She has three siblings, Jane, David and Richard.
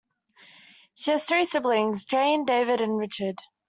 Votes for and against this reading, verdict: 1, 2, rejected